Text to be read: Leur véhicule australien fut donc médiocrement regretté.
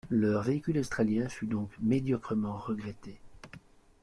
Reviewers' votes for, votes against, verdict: 2, 0, accepted